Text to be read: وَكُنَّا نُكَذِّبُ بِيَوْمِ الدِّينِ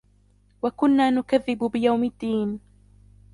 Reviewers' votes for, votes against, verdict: 1, 2, rejected